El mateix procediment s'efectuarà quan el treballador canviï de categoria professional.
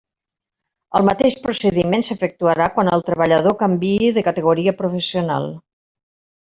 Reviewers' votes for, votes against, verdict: 3, 1, accepted